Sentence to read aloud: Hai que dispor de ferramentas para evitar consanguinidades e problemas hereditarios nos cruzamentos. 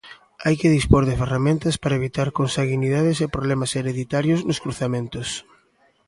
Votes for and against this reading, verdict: 1, 2, rejected